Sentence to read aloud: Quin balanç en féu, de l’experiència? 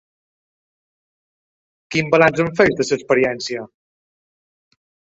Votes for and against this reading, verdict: 2, 3, rejected